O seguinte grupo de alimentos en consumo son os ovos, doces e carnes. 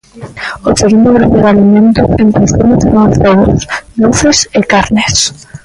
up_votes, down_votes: 0, 2